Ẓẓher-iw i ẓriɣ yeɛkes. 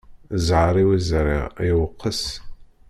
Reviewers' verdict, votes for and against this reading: rejected, 0, 2